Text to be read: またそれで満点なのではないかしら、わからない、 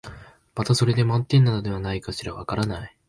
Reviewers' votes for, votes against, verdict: 3, 0, accepted